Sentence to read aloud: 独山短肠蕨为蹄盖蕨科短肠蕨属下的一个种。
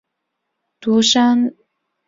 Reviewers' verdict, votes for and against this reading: rejected, 1, 2